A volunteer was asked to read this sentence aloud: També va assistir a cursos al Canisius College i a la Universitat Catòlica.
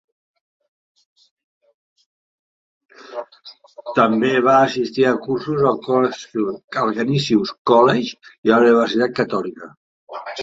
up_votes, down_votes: 0, 2